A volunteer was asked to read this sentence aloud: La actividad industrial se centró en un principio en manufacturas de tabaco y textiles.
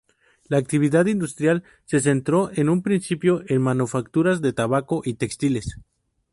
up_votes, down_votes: 4, 0